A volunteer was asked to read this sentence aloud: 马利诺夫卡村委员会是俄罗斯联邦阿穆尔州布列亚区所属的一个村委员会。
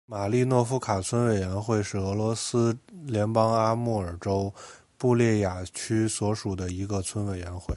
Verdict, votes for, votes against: accepted, 2, 1